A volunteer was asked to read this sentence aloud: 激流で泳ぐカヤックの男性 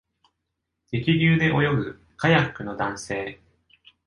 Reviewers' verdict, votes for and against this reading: accepted, 2, 0